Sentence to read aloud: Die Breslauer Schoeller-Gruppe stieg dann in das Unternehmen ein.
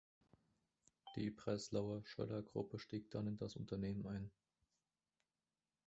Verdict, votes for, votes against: accepted, 2, 1